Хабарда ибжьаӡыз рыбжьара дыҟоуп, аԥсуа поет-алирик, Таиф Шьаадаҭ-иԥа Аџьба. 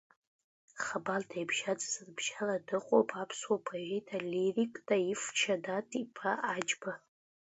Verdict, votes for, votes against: accepted, 2, 0